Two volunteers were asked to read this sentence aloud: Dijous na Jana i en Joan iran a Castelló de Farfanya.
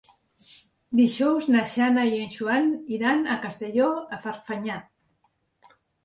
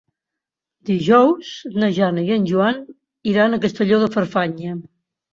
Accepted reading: second